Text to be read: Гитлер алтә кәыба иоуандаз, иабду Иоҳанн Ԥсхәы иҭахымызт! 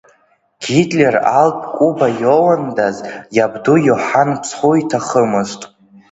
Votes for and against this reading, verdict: 2, 1, accepted